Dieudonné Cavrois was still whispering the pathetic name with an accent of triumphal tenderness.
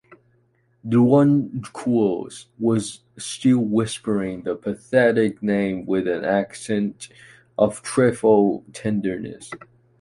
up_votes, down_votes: 0, 2